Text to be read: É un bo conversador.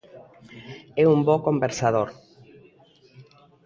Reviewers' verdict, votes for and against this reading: accepted, 2, 0